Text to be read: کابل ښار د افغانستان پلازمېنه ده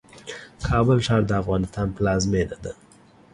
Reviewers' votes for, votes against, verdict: 2, 0, accepted